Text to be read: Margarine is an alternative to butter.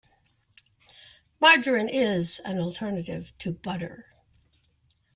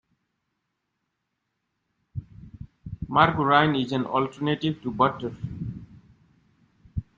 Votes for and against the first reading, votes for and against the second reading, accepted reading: 2, 0, 1, 2, first